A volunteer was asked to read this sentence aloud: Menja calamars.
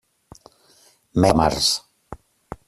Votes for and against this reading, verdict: 0, 2, rejected